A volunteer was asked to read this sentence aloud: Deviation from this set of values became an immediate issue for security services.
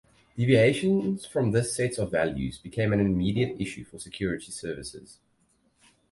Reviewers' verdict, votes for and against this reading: rejected, 2, 4